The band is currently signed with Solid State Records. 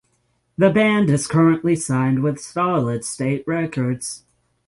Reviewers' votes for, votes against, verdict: 6, 0, accepted